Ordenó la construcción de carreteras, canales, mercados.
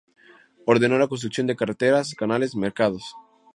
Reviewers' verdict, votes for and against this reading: rejected, 2, 2